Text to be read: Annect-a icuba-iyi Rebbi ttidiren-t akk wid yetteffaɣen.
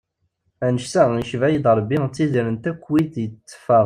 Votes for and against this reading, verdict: 1, 2, rejected